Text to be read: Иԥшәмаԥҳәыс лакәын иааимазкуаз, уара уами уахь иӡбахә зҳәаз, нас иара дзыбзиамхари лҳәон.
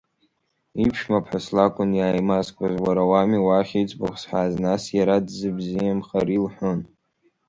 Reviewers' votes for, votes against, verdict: 2, 3, rejected